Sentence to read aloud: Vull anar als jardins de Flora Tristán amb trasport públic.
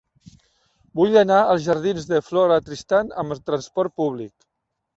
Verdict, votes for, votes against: rejected, 0, 2